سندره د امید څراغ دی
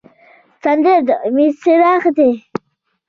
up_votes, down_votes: 2, 0